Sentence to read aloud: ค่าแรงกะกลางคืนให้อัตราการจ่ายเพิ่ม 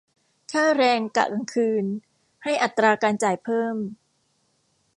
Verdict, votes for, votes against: rejected, 1, 2